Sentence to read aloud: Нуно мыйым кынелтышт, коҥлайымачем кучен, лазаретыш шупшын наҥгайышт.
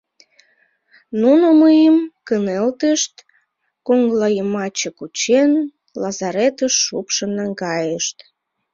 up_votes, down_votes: 0, 2